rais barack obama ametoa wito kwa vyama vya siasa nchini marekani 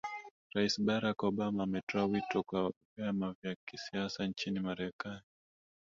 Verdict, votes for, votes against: accepted, 2, 1